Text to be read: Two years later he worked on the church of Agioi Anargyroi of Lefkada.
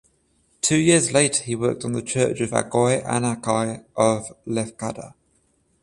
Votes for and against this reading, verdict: 14, 7, accepted